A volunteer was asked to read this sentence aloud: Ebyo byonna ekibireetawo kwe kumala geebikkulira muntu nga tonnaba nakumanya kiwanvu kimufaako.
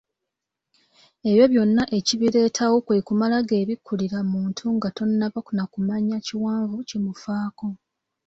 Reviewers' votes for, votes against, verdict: 2, 0, accepted